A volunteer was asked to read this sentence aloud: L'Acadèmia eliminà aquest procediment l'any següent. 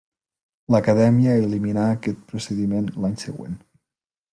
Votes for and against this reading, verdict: 3, 0, accepted